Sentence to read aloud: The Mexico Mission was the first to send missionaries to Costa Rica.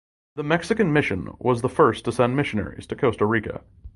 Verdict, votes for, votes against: rejected, 1, 2